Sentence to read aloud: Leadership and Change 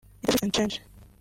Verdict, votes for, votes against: rejected, 1, 2